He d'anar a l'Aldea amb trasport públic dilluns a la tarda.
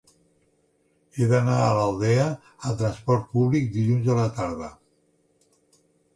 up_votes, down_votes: 2, 0